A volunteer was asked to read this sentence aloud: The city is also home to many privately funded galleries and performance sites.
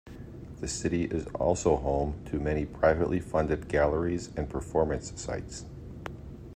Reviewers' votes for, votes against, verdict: 2, 0, accepted